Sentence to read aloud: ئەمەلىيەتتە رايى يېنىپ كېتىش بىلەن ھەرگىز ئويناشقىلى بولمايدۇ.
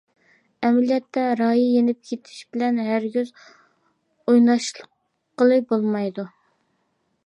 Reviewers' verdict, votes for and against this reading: rejected, 0, 2